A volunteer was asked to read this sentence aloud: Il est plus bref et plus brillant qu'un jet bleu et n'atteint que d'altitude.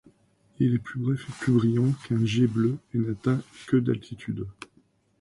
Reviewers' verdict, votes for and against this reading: rejected, 1, 2